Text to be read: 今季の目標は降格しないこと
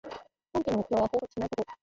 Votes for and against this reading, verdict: 1, 2, rejected